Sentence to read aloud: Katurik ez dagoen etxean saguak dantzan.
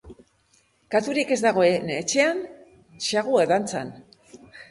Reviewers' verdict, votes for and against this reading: accepted, 2, 0